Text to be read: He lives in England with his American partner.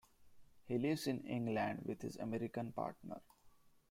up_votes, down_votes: 2, 0